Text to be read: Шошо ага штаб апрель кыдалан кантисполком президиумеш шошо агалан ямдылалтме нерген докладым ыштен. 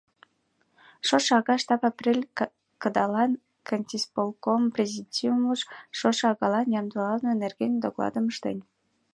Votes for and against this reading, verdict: 2, 0, accepted